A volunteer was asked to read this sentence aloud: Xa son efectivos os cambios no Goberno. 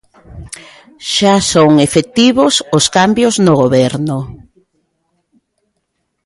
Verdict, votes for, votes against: accepted, 2, 0